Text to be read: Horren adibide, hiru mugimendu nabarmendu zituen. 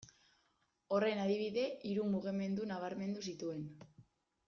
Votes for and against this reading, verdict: 2, 0, accepted